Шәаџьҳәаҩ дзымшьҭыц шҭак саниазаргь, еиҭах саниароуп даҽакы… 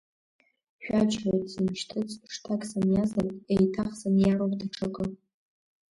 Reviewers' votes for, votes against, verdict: 1, 2, rejected